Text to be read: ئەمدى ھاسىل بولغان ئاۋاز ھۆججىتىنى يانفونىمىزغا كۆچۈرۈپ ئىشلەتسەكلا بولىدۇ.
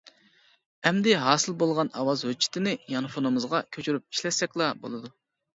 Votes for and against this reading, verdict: 2, 0, accepted